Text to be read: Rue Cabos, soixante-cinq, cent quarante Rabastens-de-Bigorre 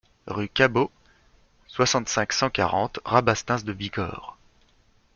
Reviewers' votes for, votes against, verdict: 2, 0, accepted